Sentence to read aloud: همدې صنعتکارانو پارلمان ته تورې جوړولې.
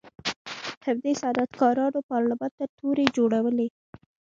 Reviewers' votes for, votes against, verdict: 0, 2, rejected